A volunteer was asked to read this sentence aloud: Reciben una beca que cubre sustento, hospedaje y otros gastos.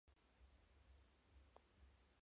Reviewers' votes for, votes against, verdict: 0, 2, rejected